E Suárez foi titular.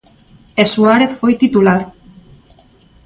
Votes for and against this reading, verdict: 2, 0, accepted